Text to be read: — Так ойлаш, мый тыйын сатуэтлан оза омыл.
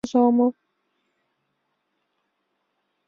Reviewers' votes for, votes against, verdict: 2, 0, accepted